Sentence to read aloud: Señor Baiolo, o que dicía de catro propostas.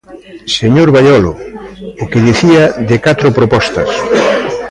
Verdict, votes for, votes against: accepted, 2, 1